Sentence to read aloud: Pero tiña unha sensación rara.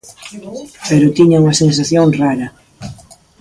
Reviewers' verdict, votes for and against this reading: rejected, 1, 2